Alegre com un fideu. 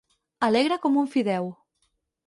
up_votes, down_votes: 4, 0